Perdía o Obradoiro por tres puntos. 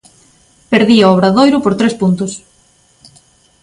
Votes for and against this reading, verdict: 2, 0, accepted